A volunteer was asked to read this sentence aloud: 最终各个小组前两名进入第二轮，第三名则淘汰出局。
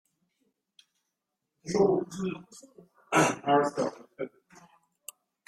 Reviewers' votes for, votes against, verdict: 0, 2, rejected